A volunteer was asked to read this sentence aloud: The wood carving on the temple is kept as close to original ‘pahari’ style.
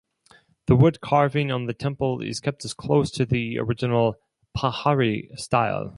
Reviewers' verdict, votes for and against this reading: rejected, 2, 4